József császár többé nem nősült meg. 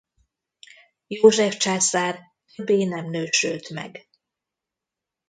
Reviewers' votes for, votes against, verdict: 0, 2, rejected